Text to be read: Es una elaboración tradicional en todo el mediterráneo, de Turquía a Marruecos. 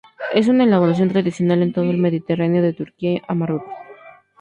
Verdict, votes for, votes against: accepted, 2, 0